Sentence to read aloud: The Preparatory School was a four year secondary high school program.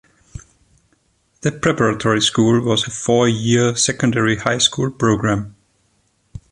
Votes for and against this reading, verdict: 2, 0, accepted